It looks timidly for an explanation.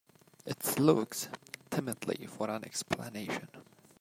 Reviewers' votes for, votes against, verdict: 2, 0, accepted